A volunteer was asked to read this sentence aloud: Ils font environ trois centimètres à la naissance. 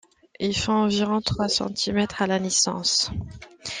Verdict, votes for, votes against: accepted, 2, 0